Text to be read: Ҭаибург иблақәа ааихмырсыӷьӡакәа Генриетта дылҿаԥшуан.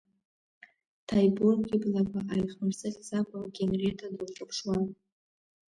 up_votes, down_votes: 2, 0